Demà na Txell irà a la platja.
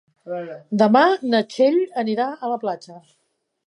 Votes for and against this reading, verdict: 1, 3, rejected